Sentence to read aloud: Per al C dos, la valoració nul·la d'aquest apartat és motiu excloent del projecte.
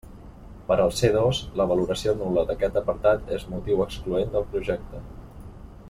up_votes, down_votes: 2, 0